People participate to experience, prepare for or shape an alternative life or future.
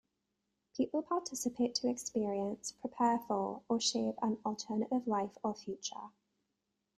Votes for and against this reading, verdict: 2, 0, accepted